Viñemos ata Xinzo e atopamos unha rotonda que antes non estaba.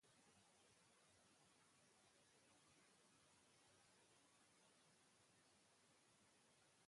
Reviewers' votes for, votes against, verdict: 0, 2, rejected